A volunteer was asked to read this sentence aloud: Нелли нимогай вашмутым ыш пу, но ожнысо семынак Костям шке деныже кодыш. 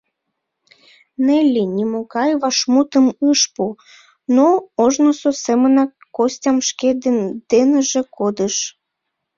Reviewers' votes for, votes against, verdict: 2, 1, accepted